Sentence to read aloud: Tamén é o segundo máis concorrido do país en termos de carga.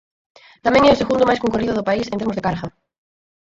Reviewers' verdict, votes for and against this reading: accepted, 4, 0